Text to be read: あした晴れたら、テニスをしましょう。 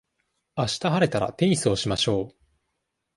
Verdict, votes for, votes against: accepted, 2, 0